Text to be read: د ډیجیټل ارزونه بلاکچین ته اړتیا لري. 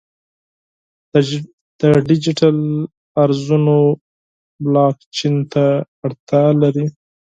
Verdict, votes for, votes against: rejected, 2, 4